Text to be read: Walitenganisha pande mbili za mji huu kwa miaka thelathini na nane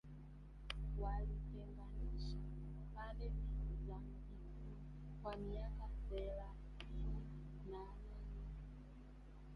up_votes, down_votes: 0, 2